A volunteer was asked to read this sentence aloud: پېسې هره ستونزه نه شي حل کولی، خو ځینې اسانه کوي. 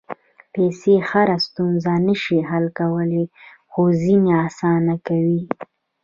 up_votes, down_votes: 1, 2